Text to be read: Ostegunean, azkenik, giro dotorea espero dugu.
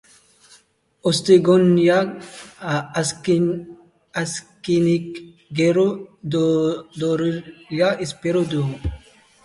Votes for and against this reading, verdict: 0, 2, rejected